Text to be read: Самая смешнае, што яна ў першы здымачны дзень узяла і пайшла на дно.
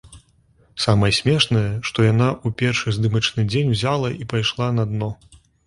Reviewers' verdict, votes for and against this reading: rejected, 1, 3